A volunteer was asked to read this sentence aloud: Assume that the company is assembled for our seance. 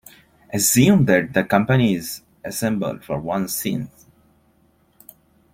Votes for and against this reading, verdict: 2, 0, accepted